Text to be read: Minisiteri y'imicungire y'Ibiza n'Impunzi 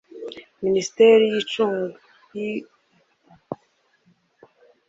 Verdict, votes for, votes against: rejected, 0, 2